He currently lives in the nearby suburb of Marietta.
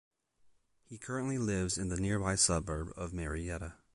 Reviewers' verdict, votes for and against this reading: accepted, 2, 0